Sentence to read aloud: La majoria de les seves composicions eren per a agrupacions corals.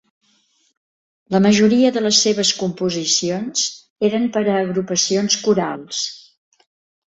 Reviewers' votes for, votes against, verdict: 2, 0, accepted